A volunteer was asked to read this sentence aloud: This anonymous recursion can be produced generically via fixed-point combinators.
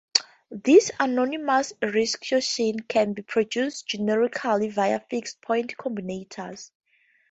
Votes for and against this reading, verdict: 0, 4, rejected